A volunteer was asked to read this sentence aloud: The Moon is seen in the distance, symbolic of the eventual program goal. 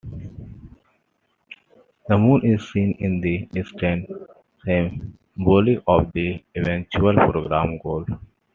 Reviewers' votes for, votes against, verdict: 2, 1, accepted